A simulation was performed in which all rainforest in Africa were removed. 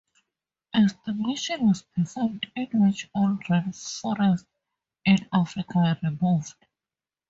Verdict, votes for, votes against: accepted, 2, 0